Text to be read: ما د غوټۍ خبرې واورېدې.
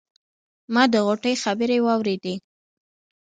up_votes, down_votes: 1, 2